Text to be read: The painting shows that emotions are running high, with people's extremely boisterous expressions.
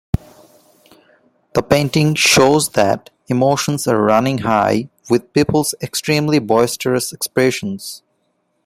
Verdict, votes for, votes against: accepted, 4, 0